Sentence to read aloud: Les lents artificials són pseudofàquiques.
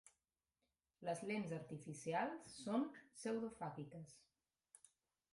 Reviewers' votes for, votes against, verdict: 1, 2, rejected